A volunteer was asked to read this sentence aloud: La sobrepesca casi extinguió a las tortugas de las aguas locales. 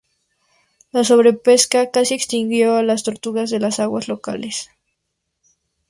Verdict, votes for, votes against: accepted, 2, 0